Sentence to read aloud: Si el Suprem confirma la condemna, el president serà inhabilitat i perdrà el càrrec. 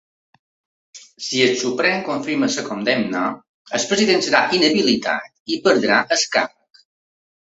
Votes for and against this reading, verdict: 1, 2, rejected